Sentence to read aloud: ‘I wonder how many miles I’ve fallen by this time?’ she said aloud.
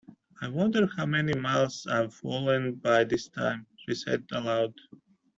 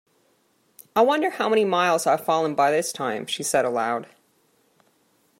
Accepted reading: second